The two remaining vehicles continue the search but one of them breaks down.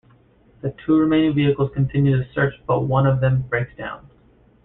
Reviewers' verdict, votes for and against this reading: accepted, 2, 1